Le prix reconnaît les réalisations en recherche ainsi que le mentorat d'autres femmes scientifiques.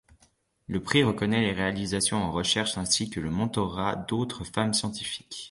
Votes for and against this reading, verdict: 2, 0, accepted